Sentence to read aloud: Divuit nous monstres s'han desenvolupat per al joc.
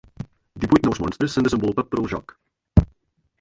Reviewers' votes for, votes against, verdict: 2, 1, accepted